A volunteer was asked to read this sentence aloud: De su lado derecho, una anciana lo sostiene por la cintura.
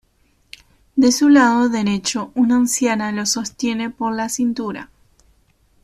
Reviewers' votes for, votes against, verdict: 2, 0, accepted